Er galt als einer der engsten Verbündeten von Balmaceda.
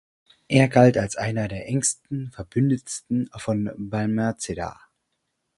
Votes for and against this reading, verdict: 0, 4, rejected